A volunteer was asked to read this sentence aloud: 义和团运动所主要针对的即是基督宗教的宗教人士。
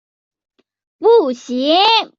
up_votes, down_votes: 0, 3